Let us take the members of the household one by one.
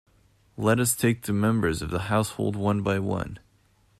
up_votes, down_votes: 2, 0